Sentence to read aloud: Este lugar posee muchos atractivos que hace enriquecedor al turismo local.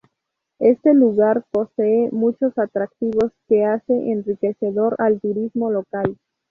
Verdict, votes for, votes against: accepted, 4, 0